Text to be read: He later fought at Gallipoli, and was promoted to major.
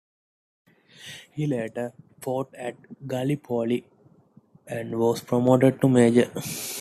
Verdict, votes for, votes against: accepted, 3, 0